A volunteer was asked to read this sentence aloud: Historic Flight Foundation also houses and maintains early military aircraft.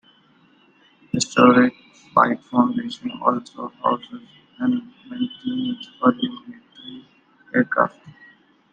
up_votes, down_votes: 0, 2